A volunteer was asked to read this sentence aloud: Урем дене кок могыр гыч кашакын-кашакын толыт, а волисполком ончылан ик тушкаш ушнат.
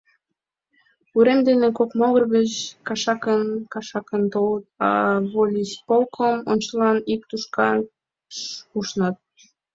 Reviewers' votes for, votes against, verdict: 0, 3, rejected